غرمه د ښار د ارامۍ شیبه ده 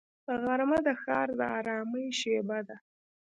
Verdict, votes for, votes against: rejected, 1, 2